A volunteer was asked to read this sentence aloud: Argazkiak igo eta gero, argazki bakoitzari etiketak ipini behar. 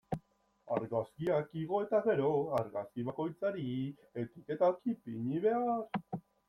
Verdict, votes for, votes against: rejected, 1, 2